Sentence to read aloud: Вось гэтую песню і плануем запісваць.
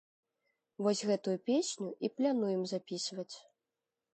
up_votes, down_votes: 1, 2